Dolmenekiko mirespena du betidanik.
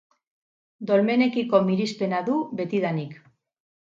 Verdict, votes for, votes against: rejected, 2, 2